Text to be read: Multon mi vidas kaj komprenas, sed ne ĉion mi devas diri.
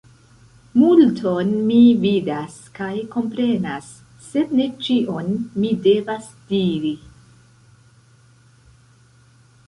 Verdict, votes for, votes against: rejected, 0, 2